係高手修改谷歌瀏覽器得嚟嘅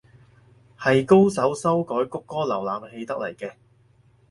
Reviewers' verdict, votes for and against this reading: accepted, 4, 0